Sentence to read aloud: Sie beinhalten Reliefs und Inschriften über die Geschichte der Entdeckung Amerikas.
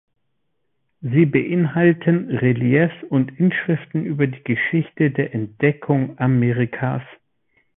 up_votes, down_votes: 2, 0